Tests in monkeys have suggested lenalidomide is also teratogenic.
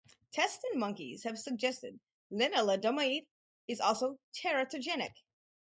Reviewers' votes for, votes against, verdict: 2, 2, rejected